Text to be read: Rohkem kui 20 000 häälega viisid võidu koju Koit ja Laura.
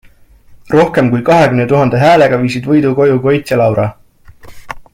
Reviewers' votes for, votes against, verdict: 0, 2, rejected